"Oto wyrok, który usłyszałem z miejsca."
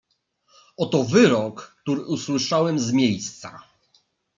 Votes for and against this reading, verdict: 2, 0, accepted